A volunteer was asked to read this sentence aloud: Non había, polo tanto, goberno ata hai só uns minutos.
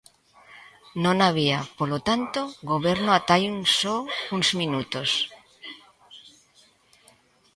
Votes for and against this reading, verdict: 1, 3, rejected